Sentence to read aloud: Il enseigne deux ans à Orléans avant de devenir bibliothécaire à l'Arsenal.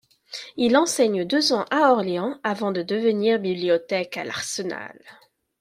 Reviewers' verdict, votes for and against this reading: rejected, 1, 2